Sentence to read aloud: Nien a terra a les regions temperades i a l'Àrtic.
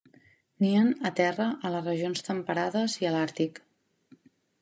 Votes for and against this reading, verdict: 3, 1, accepted